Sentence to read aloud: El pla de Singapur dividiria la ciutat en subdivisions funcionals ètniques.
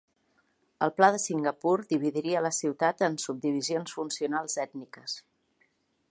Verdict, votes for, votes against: accepted, 4, 0